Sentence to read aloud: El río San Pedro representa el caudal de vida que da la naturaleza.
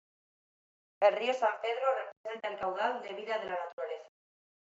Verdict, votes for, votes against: rejected, 0, 2